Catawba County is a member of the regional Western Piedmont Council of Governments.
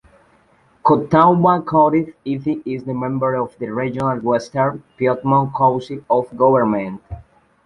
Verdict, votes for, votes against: accepted, 2, 0